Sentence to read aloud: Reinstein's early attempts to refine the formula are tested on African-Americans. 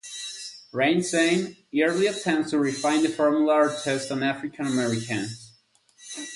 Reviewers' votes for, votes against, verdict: 0, 4, rejected